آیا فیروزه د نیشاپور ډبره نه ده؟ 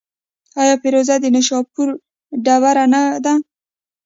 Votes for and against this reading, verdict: 2, 1, accepted